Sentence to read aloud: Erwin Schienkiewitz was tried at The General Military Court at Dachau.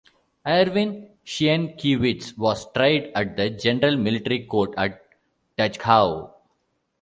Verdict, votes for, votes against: rejected, 1, 2